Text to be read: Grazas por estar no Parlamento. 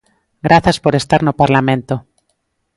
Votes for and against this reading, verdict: 2, 0, accepted